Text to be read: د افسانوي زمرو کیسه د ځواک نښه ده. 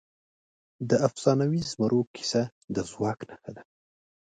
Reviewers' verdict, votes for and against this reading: accepted, 3, 1